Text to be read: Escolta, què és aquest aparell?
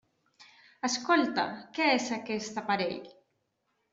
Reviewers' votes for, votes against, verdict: 1, 2, rejected